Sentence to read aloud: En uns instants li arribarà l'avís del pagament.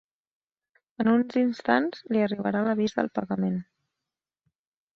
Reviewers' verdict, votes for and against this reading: accepted, 2, 0